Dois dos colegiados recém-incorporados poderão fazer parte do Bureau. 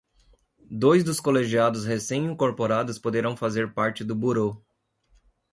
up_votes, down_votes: 2, 1